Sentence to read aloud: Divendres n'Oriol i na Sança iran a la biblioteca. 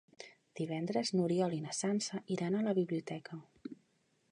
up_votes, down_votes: 3, 0